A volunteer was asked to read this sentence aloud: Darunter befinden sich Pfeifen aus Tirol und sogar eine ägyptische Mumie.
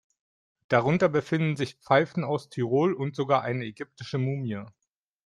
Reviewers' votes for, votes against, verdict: 2, 0, accepted